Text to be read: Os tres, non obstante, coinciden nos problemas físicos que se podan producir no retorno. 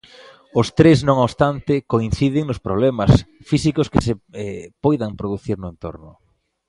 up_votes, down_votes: 0, 2